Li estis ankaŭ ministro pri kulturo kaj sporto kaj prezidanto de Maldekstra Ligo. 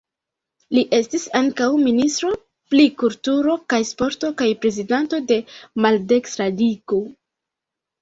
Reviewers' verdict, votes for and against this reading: accepted, 2, 1